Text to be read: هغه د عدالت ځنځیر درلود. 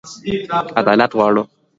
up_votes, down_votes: 1, 2